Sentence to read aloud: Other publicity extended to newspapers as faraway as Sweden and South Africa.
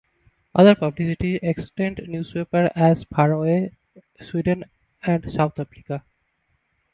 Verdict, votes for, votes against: rejected, 1, 2